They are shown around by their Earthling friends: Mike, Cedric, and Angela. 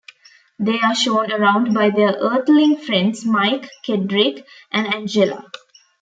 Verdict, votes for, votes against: rejected, 0, 2